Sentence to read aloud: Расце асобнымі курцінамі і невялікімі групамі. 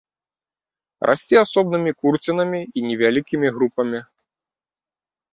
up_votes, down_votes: 2, 0